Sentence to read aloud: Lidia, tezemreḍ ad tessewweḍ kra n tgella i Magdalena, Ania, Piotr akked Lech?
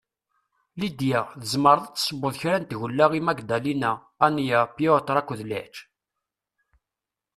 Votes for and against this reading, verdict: 2, 0, accepted